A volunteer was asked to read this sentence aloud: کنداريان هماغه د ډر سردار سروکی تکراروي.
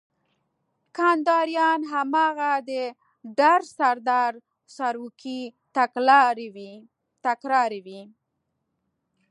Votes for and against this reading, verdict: 1, 2, rejected